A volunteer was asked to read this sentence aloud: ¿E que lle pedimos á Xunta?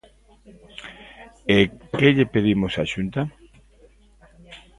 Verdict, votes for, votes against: accepted, 2, 0